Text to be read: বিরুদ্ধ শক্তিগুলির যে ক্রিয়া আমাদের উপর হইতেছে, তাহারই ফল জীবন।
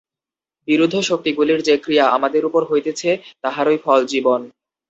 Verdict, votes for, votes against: accepted, 2, 0